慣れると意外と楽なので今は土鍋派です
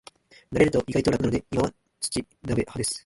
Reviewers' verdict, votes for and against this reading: rejected, 0, 2